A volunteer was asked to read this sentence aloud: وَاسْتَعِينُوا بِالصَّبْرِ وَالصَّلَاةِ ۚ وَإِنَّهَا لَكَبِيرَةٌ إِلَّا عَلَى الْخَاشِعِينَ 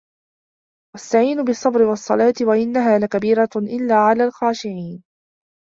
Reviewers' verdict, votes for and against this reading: accepted, 3, 0